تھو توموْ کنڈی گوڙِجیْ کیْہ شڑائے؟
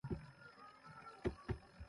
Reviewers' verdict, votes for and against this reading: rejected, 0, 3